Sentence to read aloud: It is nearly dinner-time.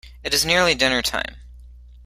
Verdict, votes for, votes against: accepted, 2, 0